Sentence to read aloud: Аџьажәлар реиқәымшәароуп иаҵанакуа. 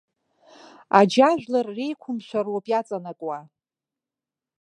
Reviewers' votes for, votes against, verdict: 1, 2, rejected